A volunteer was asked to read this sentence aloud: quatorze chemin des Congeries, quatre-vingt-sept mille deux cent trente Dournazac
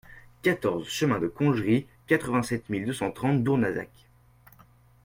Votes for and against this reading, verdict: 2, 1, accepted